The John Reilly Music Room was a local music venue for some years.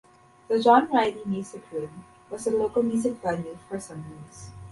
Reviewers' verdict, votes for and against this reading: rejected, 0, 2